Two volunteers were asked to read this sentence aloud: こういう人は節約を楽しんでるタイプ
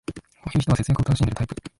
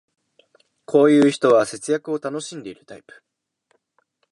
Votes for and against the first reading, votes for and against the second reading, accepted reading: 1, 2, 2, 0, second